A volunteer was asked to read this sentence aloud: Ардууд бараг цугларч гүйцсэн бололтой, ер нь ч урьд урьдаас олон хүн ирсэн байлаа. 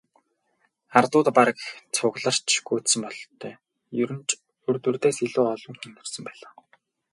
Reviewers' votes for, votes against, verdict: 0, 2, rejected